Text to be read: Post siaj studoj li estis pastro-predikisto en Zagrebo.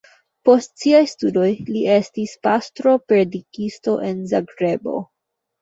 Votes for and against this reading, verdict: 0, 2, rejected